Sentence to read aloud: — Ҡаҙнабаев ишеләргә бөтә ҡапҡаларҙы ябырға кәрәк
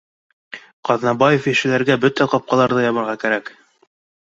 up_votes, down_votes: 2, 1